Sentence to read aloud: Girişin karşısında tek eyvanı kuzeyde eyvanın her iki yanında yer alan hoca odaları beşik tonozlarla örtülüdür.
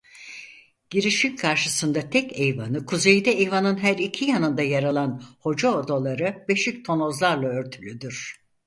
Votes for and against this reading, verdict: 4, 0, accepted